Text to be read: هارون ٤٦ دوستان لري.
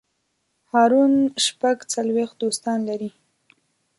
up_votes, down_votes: 0, 2